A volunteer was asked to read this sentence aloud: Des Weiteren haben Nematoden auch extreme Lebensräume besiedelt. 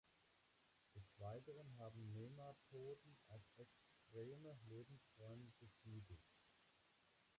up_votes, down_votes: 0, 3